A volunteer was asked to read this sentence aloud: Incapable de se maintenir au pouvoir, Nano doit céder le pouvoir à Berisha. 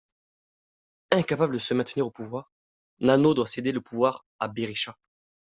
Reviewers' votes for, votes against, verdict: 2, 0, accepted